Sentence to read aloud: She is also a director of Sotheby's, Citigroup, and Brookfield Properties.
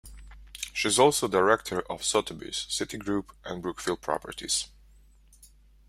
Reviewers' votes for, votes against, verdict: 1, 2, rejected